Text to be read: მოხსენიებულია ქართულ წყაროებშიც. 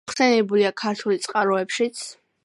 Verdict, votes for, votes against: rejected, 0, 2